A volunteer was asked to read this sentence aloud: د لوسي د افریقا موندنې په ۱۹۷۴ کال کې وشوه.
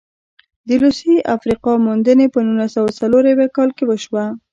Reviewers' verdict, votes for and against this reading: rejected, 0, 2